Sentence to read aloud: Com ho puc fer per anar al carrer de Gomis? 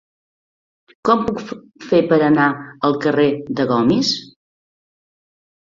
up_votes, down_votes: 1, 2